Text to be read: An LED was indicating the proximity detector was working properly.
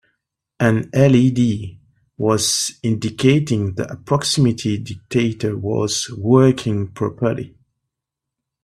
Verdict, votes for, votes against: accepted, 2, 0